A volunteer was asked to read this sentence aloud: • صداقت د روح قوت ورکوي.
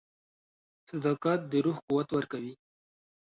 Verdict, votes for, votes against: accepted, 2, 0